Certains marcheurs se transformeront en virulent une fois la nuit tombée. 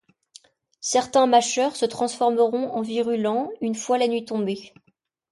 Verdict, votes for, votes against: rejected, 1, 2